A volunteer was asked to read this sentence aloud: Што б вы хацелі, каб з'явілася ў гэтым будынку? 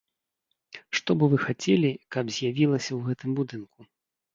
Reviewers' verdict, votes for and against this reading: rejected, 0, 2